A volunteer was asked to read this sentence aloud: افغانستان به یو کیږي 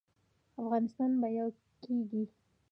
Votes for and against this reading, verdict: 0, 2, rejected